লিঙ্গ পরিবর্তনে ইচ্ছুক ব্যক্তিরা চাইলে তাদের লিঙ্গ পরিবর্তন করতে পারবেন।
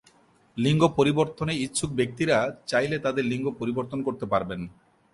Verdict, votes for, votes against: accepted, 2, 0